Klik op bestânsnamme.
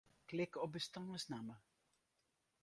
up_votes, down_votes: 4, 2